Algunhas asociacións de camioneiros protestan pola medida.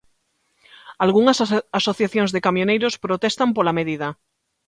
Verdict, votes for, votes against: rejected, 1, 2